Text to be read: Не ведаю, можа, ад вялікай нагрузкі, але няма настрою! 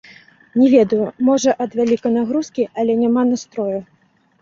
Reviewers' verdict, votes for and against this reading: accepted, 2, 1